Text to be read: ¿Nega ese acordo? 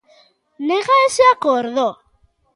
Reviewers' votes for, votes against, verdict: 2, 0, accepted